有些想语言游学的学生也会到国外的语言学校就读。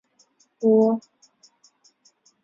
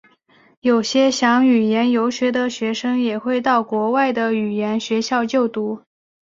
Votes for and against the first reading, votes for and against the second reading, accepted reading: 0, 3, 5, 0, second